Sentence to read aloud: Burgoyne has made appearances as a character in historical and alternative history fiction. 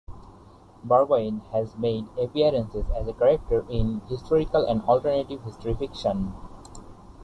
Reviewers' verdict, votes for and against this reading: rejected, 0, 2